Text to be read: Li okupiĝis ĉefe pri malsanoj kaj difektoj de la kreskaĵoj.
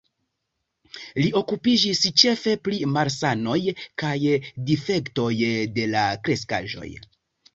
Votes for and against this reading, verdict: 2, 0, accepted